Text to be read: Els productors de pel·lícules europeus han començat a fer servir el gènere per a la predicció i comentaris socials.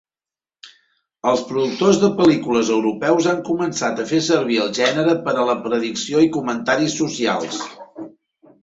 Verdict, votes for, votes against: rejected, 1, 2